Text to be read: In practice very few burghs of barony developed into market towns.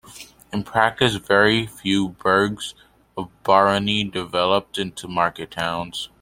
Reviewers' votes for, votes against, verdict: 2, 0, accepted